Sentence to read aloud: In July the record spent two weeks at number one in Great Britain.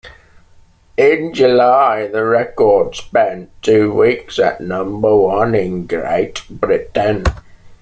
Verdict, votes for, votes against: accepted, 2, 0